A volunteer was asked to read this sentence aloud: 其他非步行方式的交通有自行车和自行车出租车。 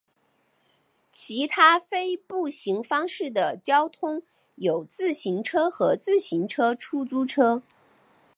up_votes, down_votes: 3, 0